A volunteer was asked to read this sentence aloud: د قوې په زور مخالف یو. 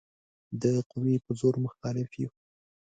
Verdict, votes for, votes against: accepted, 2, 0